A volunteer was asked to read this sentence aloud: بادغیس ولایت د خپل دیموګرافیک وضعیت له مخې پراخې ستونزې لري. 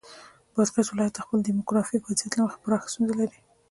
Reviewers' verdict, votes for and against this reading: accepted, 2, 0